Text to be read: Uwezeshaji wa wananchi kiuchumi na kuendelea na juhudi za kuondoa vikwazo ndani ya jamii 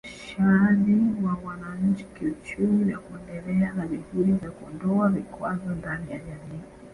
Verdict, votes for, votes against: accepted, 2, 0